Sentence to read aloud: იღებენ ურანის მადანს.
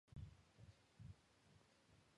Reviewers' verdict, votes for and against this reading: rejected, 0, 2